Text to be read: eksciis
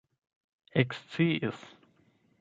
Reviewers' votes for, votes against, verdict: 4, 8, rejected